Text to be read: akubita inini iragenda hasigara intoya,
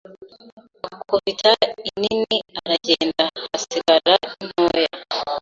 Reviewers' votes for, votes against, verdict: 1, 2, rejected